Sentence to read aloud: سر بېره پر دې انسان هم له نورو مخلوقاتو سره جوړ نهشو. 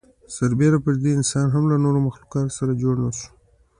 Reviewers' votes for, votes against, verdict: 2, 0, accepted